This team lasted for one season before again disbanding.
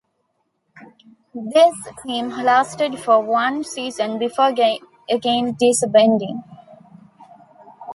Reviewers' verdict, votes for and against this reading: rejected, 0, 2